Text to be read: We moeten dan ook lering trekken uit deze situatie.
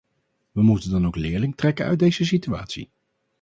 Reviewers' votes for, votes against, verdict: 0, 2, rejected